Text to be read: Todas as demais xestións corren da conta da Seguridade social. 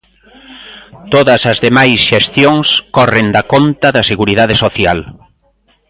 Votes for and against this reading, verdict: 1, 2, rejected